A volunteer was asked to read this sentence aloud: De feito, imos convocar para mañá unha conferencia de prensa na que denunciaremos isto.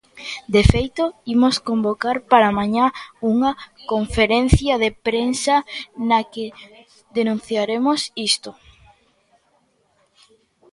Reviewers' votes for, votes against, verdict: 2, 0, accepted